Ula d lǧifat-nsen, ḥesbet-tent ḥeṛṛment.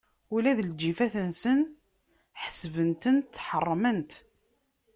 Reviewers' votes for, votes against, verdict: 1, 2, rejected